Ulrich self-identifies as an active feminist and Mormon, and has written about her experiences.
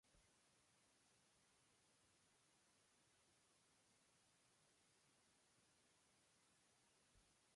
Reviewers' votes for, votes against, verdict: 0, 2, rejected